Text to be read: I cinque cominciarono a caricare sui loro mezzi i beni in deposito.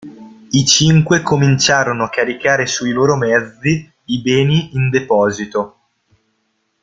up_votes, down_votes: 2, 0